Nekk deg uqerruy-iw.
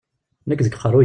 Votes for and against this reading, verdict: 0, 2, rejected